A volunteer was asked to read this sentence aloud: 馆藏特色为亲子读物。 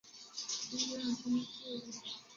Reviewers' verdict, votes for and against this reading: rejected, 0, 2